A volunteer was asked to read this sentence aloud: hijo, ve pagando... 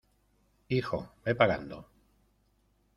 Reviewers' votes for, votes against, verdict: 2, 0, accepted